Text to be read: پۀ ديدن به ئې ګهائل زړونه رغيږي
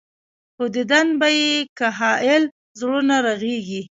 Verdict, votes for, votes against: rejected, 1, 2